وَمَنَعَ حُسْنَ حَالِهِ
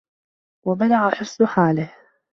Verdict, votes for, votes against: accepted, 2, 0